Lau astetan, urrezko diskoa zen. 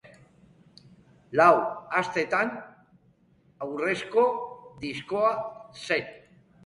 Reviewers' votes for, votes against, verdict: 1, 2, rejected